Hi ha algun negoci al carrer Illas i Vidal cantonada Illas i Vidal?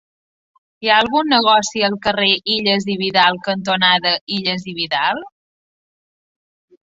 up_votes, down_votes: 2, 0